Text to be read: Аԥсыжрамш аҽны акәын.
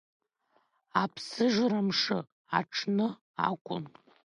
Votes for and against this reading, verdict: 2, 1, accepted